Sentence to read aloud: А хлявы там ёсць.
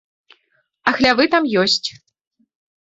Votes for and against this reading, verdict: 2, 0, accepted